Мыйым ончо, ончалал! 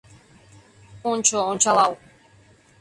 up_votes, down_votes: 0, 2